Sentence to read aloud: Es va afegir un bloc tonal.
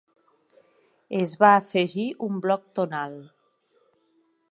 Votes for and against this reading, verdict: 3, 0, accepted